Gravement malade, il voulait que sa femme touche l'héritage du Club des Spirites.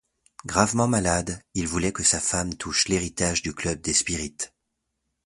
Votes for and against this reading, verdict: 2, 0, accepted